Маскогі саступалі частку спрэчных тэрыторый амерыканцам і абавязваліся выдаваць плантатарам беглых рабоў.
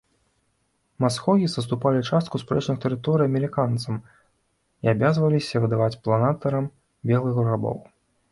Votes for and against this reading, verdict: 0, 2, rejected